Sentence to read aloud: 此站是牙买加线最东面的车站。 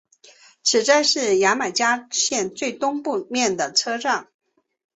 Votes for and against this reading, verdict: 3, 0, accepted